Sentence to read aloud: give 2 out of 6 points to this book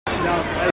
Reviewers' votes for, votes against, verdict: 0, 2, rejected